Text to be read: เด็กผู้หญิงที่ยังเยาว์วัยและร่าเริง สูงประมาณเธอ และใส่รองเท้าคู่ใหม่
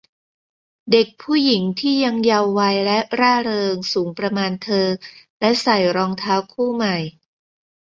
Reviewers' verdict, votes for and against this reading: rejected, 0, 2